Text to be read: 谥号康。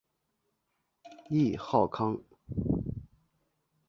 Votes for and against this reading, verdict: 2, 0, accepted